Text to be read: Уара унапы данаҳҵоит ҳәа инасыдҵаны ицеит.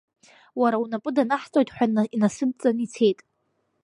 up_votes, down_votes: 2, 1